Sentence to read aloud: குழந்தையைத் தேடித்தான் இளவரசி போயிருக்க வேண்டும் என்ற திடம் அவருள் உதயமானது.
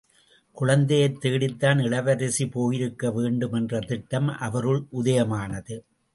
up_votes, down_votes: 0, 2